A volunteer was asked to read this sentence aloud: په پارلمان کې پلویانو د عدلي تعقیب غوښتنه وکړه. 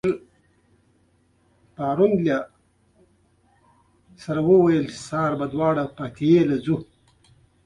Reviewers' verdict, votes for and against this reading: rejected, 0, 2